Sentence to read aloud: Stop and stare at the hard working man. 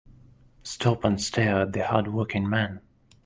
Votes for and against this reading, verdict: 2, 0, accepted